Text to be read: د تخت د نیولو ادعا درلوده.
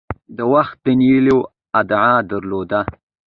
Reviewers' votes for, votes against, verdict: 2, 0, accepted